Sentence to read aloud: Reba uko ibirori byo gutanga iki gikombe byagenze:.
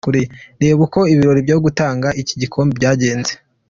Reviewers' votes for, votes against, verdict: 2, 1, accepted